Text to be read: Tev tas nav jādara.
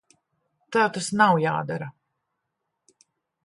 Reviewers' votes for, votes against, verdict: 1, 2, rejected